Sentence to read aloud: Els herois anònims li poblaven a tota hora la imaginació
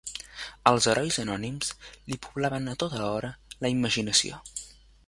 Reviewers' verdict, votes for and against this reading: accepted, 2, 1